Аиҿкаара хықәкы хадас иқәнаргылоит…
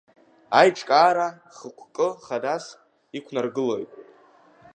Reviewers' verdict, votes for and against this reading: accepted, 2, 0